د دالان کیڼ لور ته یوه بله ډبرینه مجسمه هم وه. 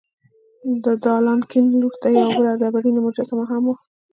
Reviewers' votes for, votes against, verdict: 0, 3, rejected